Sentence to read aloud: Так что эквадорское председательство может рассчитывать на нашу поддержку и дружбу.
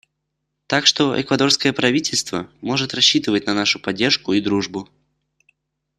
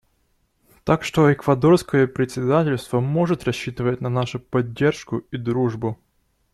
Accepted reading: second